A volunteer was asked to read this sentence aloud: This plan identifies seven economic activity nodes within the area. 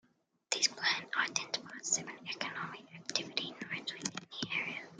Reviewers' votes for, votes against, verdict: 2, 1, accepted